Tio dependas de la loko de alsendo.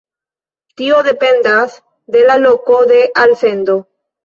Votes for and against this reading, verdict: 2, 1, accepted